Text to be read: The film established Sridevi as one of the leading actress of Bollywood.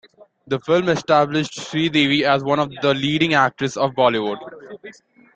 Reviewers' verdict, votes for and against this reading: accepted, 2, 0